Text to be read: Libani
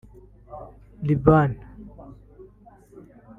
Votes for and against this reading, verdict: 1, 2, rejected